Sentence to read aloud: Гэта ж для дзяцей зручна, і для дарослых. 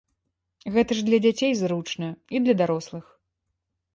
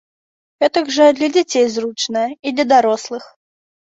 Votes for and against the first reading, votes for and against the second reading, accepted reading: 2, 0, 0, 2, first